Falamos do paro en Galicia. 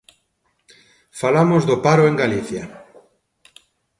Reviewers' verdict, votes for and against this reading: accepted, 2, 0